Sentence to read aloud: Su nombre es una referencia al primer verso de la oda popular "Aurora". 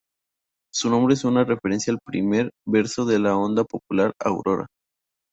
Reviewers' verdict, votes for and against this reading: accepted, 2, 0